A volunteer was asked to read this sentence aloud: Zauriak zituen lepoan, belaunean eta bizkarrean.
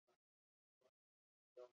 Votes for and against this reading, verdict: 0, 4, rejected